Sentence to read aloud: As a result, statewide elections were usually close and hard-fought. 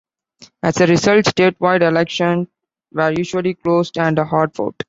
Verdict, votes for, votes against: rejected, 1, 2